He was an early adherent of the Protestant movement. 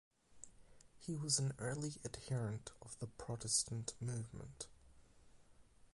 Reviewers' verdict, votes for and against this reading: rejected, 4, 4